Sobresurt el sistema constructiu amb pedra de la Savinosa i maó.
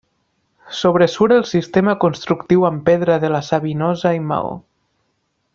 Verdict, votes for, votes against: accepted, 2, 0